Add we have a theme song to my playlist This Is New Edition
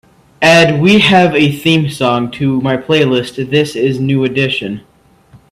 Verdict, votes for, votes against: accepted, 2, 0